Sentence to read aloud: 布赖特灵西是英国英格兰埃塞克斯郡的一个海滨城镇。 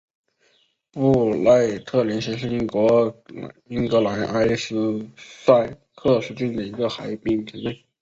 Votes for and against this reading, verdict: 1, 2, rejected